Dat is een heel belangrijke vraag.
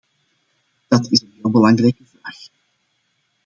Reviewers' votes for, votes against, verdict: 0, 2, rejected